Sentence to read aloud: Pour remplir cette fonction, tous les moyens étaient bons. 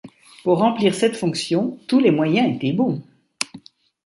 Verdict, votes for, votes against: accepted, 2, 0